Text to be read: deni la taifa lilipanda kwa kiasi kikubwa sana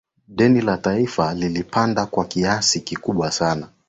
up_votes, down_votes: 2, 0